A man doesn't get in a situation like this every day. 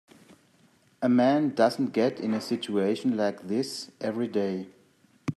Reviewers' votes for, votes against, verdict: 2, 0, accepted